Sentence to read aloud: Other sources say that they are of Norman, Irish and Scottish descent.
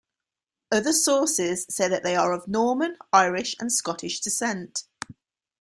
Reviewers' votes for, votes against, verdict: 3, 0, accepted